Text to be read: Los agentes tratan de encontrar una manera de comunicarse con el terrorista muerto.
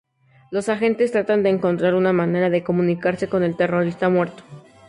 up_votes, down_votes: 2, 0